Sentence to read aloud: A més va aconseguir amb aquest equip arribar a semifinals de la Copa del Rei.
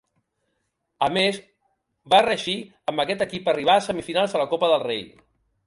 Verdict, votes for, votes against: rejected, 0, 3